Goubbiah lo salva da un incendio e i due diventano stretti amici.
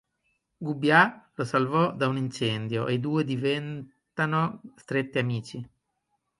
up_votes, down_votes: 1, 2